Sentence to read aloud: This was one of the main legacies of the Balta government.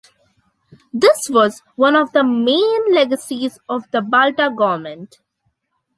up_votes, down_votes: 2, 0